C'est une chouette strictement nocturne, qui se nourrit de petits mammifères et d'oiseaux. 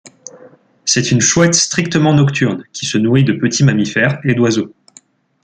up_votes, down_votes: 2, 0